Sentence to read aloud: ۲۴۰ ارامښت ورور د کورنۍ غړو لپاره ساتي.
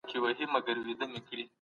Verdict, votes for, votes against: rejected, 0, 2